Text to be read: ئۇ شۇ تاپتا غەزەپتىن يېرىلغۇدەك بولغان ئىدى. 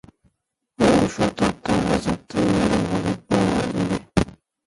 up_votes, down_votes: 0, 2